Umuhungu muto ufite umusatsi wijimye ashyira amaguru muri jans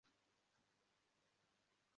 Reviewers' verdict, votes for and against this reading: rejected, 0, 2